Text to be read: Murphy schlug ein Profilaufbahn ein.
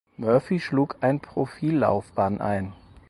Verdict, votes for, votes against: rejected, 0, 4